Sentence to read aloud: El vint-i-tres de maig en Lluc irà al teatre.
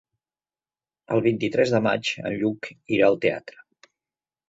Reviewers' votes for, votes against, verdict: 4, 0, accepted